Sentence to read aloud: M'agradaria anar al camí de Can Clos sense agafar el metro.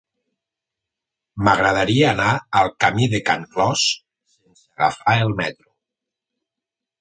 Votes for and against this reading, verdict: 2, 4, rejected